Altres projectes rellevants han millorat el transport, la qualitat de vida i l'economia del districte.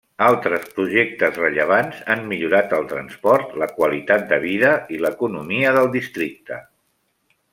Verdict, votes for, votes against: accepted, 3, 0